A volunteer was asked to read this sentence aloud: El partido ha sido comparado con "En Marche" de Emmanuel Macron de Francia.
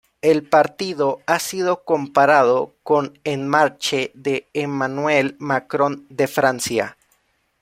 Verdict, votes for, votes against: accepted, 2, 0